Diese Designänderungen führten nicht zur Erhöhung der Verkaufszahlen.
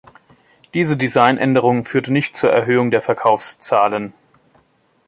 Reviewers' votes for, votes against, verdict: 0, 2, rejected